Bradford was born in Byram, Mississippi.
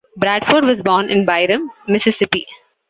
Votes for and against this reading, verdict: 2, 0, accepted